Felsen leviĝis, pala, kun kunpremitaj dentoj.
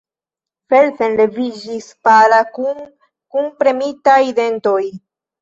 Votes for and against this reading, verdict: 0, 2, rejected